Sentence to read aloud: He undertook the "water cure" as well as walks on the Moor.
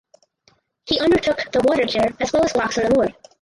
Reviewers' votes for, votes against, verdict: 0, 4, rejected